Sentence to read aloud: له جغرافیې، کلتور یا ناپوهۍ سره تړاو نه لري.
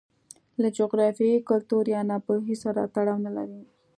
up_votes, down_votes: 2, 0